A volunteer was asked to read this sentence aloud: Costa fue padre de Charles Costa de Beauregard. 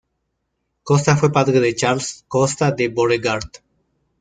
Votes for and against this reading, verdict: 2, 0, accepted